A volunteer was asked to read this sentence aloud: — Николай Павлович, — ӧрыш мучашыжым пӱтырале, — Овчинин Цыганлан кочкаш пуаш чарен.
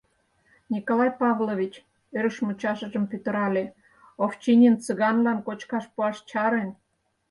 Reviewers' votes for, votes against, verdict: 0, 4, rejected